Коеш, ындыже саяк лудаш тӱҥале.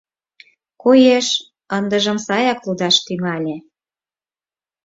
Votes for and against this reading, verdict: 2, 4, rejected